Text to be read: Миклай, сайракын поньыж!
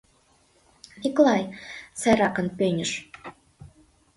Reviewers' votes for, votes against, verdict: 0, 2, rejected